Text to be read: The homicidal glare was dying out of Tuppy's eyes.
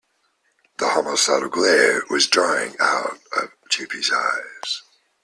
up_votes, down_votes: 2, 3